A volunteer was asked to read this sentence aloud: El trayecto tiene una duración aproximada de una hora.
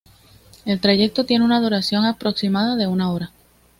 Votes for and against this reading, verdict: 2, 0, accepted